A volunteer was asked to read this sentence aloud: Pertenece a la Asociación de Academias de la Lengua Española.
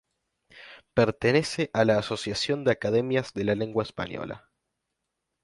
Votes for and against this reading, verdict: 2, 0, accepted